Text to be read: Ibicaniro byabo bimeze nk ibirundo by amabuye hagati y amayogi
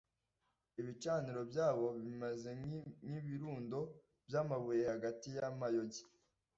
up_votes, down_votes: 1, 2